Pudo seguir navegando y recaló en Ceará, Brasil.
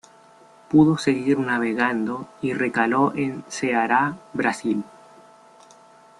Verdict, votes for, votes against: accepted, 2, 1